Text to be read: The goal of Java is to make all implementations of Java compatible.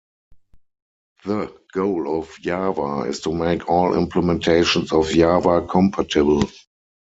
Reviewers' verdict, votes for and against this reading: rejected, 2, 4